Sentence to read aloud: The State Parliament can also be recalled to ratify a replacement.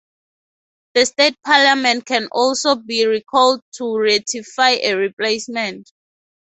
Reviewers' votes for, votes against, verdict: 4, 0, accepted